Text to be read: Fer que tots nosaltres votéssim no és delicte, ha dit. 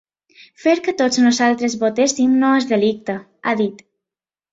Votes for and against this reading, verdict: 5, 0, accepted